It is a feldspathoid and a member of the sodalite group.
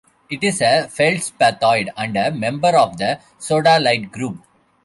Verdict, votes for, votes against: rejected, 0, 2